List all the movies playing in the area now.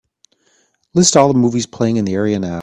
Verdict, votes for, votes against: accepted, 3, 0